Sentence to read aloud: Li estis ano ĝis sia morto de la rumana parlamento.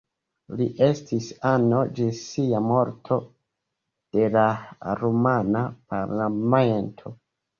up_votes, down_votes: 2, 1